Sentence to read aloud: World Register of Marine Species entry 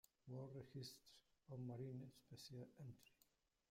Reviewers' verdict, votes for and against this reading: rejected, 1, 2